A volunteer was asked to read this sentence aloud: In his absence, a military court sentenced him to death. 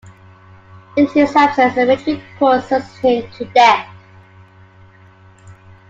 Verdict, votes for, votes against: rejected, 1, 2